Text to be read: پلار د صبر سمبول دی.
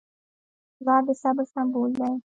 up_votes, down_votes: 1, 2